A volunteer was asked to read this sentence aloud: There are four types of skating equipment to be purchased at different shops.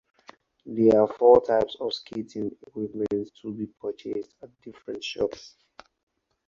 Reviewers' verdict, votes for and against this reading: rejected, 2, 4